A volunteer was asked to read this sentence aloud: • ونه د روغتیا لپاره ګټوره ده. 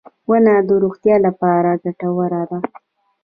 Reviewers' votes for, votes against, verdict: 2, 1, accepted